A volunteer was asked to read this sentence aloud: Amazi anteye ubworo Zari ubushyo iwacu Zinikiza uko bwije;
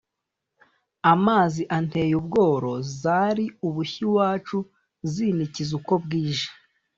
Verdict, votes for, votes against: accepted, 2, 0